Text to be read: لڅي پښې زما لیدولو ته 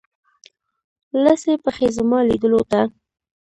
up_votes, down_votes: 2, 0